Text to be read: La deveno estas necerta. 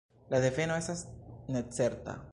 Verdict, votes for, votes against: accepted, 3, 0